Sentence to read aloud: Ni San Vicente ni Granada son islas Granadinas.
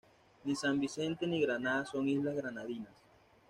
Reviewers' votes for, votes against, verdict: 2, 1, accepted